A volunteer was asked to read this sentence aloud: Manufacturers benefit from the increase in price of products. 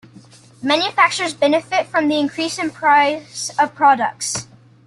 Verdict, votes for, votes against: accepted, 2, 1